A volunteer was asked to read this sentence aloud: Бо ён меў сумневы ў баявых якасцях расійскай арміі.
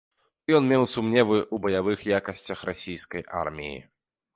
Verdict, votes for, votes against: rejected, 0, 2